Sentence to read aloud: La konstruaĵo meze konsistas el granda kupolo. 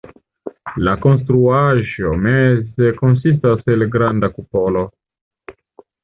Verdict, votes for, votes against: accepted, 2, 0